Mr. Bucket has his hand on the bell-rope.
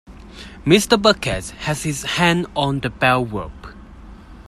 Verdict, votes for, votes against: accepted, 2, 0